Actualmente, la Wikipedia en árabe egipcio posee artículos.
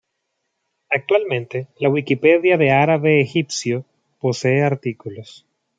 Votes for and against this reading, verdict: 1, 2, rejected